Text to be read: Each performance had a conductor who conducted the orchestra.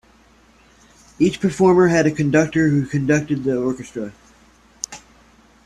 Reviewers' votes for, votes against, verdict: 2, 1, accepted